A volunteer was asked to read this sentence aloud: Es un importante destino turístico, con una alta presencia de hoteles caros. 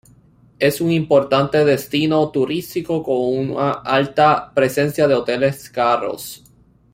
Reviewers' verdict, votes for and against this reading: rejected, 1, 2